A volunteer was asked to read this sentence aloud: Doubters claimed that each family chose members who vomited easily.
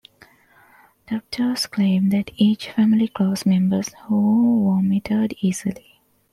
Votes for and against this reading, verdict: 1, 2, rejected